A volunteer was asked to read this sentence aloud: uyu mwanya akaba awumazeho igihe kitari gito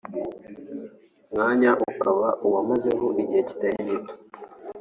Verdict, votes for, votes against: rejected, 1, 2